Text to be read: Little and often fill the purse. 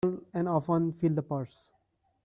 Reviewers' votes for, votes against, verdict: 0, 2, rejected